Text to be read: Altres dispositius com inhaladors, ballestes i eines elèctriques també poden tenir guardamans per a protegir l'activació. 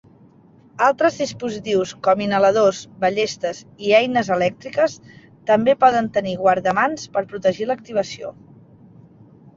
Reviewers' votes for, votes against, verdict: 1, 2, rejected